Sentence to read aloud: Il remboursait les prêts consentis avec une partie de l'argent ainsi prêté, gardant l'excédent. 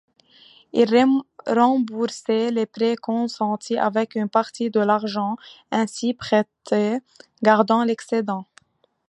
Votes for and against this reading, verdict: 0, 2, rejected